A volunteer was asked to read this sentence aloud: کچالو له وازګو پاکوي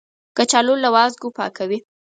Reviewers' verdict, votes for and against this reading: accepted, 4, 0